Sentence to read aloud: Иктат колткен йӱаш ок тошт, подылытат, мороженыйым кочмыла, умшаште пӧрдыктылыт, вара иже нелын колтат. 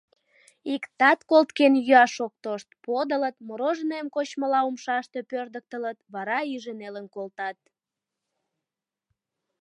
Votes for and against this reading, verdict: 0, 2, rejected